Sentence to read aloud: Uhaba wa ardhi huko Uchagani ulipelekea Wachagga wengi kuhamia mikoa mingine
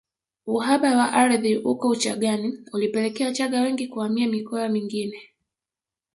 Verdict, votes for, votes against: rejected, 1, 2